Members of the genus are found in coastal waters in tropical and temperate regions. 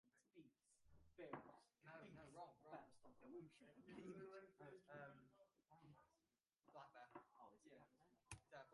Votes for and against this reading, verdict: 0, 2, rejected